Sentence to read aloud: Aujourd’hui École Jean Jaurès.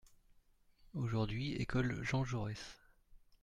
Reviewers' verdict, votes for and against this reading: accepted, 2, 0